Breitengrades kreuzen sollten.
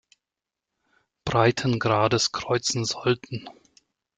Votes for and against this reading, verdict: 2, 0, accepted